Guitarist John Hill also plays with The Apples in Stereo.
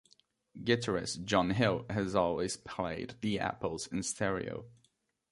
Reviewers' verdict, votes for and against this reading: rejected, 0, 2